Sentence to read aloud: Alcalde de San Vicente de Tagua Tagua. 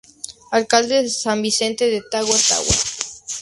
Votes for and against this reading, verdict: 2, 0, accepted